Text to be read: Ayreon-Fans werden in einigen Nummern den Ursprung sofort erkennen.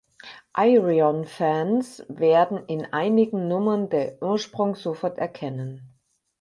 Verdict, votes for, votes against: accepted, 6, 4